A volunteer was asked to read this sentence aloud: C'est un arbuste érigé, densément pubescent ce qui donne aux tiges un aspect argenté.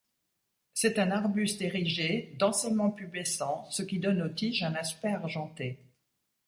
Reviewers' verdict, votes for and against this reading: accepted, 2, 0